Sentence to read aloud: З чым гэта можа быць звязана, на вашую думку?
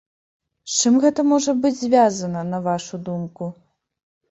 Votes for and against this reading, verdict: 0, 2, rejected